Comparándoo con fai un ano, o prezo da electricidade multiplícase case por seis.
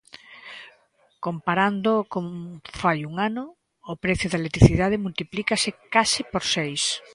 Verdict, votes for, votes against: rejected, 1, 2